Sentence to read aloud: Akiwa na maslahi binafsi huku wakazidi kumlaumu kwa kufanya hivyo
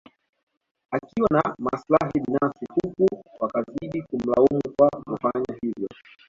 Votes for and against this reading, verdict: 2, 1, accepted